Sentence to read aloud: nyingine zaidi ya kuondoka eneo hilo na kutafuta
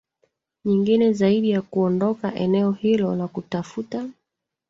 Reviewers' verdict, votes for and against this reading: rejected, 0, 2